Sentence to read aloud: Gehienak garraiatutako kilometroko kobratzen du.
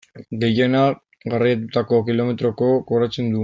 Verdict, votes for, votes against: rejected, 0, 2